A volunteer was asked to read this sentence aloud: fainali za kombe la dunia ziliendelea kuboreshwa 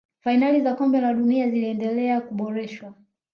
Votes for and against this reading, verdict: 2, 0, accepted